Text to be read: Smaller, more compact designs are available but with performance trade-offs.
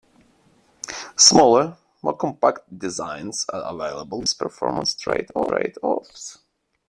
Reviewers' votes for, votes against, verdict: 0, 2, rejected